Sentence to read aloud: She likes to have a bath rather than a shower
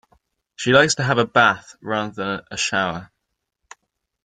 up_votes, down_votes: 1, 2